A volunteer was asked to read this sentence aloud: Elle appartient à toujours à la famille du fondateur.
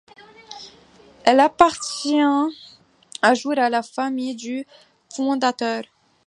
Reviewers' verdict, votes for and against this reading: rejected, 0, 2